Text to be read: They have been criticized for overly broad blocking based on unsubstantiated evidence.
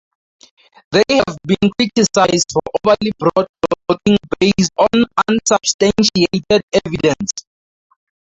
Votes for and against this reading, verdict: 0, 2, rejected